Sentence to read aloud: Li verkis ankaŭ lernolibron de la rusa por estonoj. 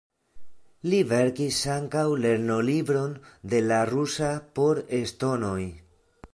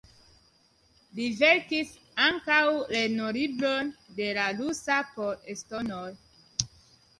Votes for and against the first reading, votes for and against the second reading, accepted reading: 2, 0, 1, 2, first